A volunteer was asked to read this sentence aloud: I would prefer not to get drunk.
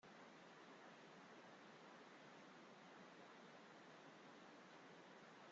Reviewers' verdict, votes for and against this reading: rejected, 0, 2